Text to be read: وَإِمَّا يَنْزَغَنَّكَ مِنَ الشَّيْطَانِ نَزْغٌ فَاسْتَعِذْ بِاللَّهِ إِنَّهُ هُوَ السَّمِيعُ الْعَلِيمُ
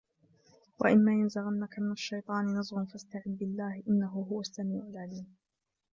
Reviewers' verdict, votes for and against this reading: accepted, 2, 1